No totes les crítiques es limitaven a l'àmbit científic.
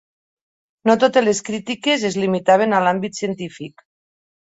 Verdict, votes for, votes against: accepted, 3, 0